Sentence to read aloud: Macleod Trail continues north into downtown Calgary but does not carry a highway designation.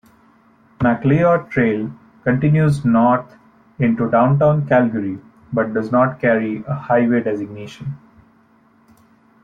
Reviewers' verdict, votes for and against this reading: rejected, 0, 2